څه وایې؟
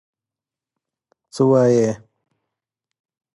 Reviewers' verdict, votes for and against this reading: accepted, 2, 0